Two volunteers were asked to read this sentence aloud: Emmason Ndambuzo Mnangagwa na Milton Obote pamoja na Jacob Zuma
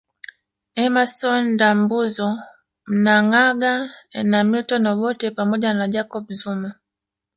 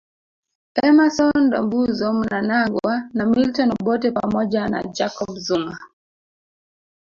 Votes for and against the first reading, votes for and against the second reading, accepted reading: 2, 1, 1, 2, first